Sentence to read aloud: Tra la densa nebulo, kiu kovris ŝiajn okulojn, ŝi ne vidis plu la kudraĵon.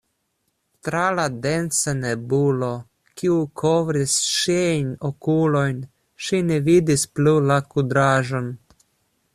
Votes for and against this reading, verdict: 0, 2, rejected